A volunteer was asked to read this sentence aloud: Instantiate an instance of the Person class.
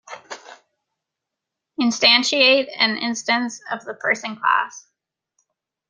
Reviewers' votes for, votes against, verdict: 2, 0, accepted